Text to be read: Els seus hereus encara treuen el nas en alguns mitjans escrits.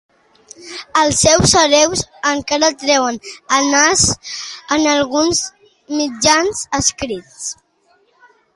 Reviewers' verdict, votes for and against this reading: accepted, 2, 0